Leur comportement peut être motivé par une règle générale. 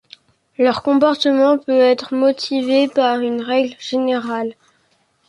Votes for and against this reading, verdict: 2, 0, accepted